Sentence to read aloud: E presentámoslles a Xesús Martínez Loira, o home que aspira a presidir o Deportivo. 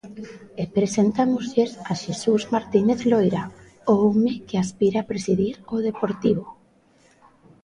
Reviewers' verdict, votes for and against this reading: rejected, 0, 2